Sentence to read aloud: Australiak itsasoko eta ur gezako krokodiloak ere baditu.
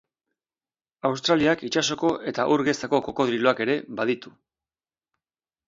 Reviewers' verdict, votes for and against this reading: rejected, 0, 2